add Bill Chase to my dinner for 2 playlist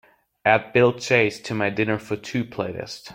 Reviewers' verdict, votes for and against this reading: rejected, 0, 2